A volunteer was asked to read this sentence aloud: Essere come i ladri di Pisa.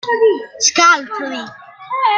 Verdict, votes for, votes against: rejected, 0, 2